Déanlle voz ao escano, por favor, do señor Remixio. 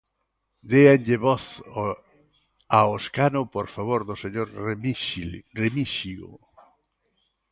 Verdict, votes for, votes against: rejected, 0, 2